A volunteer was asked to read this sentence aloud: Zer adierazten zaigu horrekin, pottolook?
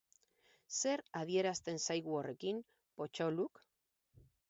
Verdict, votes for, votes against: accepted, 4, 0